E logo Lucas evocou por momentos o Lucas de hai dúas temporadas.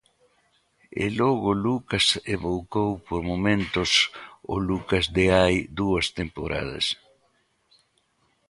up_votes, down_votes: 1, 2